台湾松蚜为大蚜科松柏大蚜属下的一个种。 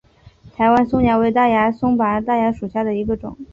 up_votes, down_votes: 0, 3